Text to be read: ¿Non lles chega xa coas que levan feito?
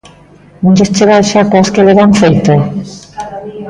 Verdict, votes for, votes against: rejected, 0, 2